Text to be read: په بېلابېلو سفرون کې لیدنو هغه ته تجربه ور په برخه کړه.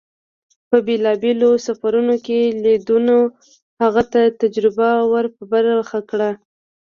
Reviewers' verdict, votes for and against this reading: rejected, 1, 2